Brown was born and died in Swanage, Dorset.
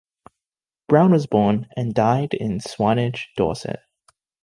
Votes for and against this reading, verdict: 2, 0, accepted